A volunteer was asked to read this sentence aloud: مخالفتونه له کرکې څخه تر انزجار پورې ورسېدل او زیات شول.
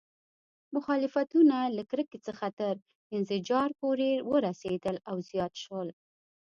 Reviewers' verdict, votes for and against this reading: accepted, 2, 0